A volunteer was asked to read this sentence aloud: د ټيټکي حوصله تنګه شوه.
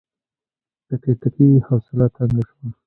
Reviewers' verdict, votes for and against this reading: rejected, 1, 2